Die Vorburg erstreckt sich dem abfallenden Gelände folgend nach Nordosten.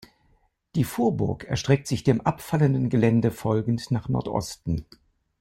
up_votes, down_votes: 2, 0